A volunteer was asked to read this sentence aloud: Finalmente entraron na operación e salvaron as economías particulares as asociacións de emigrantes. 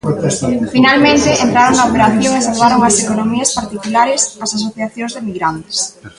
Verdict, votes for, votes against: rejected, 0, 2